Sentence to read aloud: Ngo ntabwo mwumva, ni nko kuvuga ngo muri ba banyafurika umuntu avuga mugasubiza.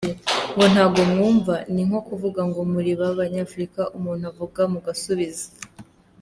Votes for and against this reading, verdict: 2, 0, accepted